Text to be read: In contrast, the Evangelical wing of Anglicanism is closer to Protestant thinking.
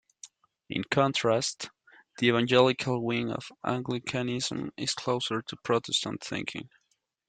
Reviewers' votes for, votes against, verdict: 2, 1, accepted